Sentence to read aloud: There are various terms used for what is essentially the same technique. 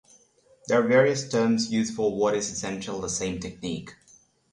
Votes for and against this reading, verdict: 6, 0, accepted